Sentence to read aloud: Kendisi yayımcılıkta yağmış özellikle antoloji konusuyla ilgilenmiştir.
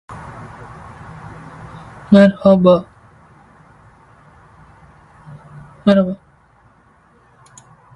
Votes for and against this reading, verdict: 0, 2, rejected